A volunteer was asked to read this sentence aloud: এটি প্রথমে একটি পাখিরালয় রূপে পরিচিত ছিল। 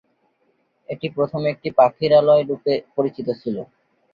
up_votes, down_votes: 2, 0